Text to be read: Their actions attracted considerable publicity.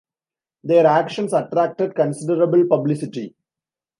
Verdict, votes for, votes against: accepted, 2, 1